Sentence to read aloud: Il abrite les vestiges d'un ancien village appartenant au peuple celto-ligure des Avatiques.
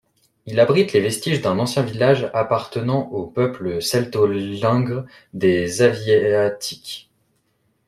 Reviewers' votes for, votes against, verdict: 1, 2, rejected